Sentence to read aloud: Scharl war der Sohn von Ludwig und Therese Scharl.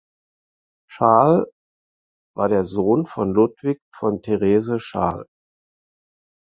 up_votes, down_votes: 2, 4